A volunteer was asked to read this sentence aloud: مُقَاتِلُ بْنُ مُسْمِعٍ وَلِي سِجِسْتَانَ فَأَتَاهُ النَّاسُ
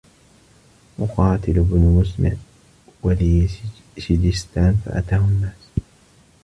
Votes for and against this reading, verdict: 1, 2, rejected